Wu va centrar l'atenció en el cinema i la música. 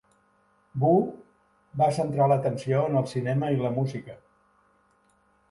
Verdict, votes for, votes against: accepted, 4, 0